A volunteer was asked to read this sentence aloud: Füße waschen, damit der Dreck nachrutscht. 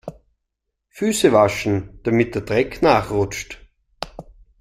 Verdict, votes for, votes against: accepted, 2, 0